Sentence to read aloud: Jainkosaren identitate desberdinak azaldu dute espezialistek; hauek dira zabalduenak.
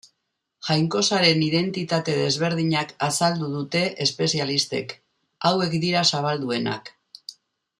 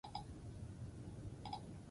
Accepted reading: first